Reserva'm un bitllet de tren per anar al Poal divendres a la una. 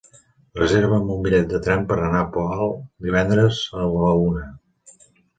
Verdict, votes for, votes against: accepted, 2, 0